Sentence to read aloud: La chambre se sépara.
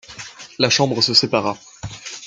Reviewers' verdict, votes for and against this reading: accepted, 2, 1